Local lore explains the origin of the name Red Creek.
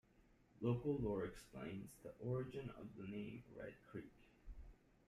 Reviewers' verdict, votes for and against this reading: rejected, 1, 2